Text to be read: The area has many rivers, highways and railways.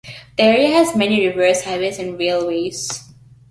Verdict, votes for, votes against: accepted, 2, 0